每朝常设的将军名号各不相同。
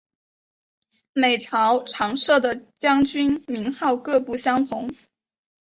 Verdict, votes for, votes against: accepted, 2, 0